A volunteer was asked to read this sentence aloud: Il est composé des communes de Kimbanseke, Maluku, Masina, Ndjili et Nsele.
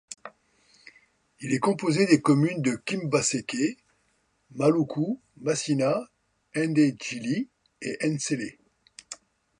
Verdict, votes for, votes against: rejected, 0, 2